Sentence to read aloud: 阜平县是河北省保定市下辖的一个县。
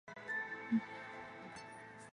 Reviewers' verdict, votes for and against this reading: rejected, 0, 2